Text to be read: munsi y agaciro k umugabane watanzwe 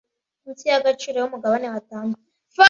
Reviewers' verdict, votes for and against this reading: rejected, 1, 2